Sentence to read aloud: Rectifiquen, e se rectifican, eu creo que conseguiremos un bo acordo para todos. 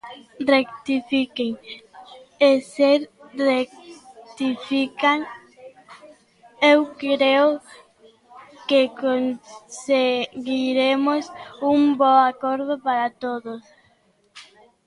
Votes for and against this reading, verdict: 0, 2, rejected